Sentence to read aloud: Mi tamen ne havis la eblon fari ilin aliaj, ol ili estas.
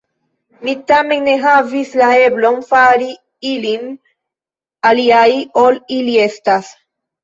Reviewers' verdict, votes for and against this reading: rejected, 0, 2